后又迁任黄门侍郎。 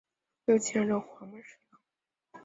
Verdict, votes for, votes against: rejected, 0, 3